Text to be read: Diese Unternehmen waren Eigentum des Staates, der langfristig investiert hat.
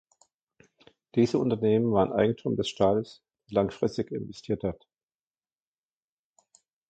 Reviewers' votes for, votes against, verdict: 0, 2, rejected